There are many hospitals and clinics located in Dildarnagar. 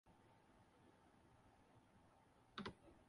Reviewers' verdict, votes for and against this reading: rejected, 0, 6